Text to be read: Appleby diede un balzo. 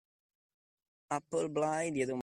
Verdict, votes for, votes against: rejected, 0, 2